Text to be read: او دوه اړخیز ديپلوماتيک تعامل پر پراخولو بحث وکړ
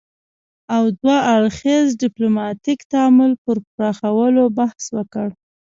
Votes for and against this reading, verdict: 2, 0, accepted